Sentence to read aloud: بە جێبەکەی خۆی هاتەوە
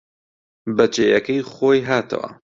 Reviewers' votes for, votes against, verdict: 1, 2, rejected